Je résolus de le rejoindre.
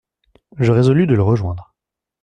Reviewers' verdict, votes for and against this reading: accepted, 2, 0